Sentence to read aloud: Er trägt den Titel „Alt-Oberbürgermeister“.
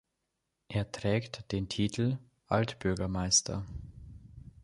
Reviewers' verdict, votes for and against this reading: rejected, 0, 2